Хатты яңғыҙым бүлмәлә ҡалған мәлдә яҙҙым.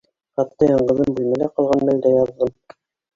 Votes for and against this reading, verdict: 1, 2, rejected